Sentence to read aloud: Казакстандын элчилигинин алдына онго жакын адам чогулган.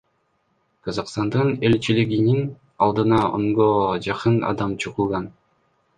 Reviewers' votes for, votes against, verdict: 1, 2, rejected